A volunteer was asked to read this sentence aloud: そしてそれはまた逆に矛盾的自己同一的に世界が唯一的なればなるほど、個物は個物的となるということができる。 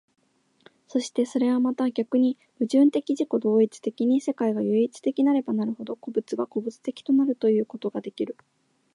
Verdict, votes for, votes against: accepted, 3, 0